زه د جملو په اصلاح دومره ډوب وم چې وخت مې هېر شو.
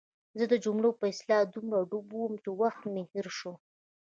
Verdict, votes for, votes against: accepted, 2, 0